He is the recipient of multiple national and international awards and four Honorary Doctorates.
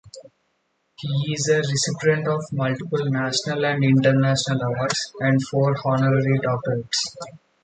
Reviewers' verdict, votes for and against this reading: rejected, 2, 2